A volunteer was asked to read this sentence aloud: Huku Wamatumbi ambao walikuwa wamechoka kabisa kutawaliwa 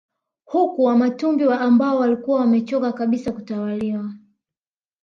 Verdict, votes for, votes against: rejected, 0, 2